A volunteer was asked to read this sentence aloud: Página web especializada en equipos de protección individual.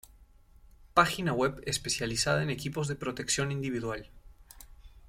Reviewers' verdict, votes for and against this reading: accepted, 2, 0